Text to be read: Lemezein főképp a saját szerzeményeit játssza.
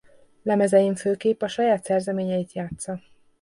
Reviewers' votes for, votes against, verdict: 2, 0, accepted